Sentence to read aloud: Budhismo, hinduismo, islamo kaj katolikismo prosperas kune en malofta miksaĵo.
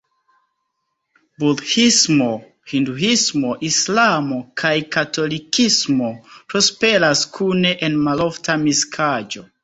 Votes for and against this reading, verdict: 0, 3, rejected